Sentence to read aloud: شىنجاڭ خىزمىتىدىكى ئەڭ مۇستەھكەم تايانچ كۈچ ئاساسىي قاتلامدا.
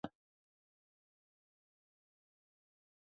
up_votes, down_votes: 0, 2